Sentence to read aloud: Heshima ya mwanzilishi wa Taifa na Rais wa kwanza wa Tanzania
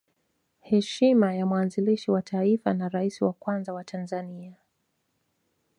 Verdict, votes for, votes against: accepted, 2, 0